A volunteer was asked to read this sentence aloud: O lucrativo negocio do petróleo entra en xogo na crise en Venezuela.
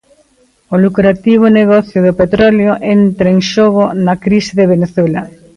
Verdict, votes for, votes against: rejected, 1, 2